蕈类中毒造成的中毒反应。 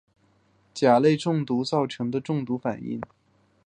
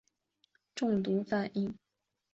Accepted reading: first